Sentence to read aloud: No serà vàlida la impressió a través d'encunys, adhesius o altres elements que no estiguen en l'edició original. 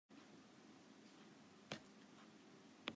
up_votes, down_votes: 0, 2